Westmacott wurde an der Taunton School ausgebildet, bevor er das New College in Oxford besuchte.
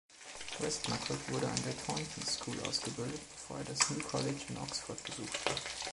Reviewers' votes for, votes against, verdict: 1, 2, rejected